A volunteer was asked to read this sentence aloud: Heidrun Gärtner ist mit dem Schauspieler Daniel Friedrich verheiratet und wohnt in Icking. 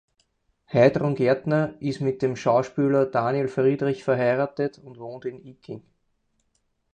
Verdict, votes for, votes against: accepted, 4, 0